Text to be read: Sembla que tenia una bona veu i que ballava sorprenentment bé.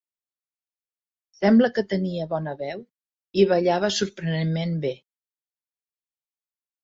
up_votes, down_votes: 1, 2